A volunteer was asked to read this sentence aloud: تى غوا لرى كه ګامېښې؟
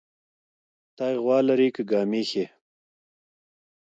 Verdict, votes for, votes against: accepted, 2, 0